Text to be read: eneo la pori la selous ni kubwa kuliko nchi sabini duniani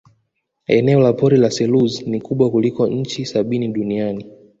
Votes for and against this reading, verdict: 1, 2, rejected